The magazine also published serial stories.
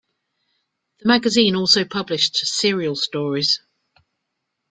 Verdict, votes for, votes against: accepted, 2, 0